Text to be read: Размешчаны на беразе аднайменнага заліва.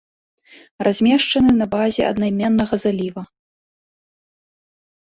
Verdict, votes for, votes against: rejected, 0, 2